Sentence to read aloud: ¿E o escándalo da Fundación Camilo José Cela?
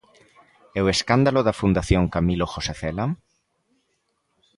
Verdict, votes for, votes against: accepted, 2, 0